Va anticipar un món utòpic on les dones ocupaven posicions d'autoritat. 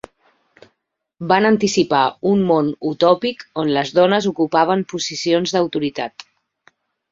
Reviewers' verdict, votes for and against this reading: rejected, 0, 2